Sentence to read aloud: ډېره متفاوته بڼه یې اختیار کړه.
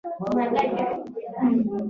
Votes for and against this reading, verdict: 1, 2, rejected